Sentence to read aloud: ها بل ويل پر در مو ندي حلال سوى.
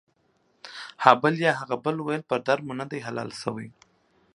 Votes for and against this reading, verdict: 1, 2, rejected